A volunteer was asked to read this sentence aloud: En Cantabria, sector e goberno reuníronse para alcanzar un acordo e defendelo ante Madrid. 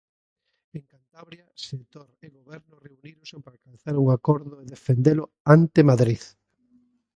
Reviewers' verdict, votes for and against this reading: rejected, 0, 2